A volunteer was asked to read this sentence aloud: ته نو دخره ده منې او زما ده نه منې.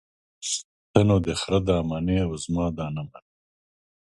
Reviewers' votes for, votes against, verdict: 2, 0, accepted